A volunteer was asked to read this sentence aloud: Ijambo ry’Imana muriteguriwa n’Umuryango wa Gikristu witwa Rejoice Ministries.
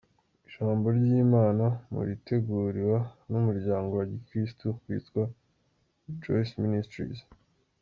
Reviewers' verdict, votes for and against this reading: accepted, 2, 0